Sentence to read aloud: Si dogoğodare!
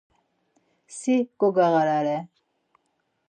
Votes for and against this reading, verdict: 0, 4, rejected